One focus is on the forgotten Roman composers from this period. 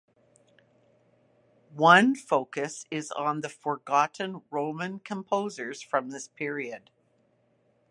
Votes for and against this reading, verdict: 2, 0, accepted